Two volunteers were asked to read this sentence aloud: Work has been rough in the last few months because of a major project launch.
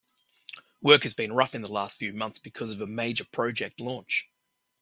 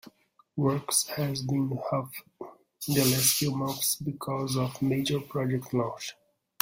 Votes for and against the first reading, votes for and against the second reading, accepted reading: 2, 0, 0, 2, first